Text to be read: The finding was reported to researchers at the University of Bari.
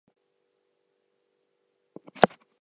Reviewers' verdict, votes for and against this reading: rejected, 0, 2